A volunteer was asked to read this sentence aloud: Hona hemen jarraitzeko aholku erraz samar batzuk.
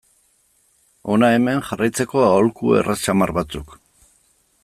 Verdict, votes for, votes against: accepted, 2, 0